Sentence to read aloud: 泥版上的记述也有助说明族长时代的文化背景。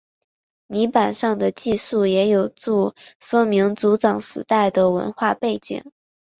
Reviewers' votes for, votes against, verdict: 5, 0, accepted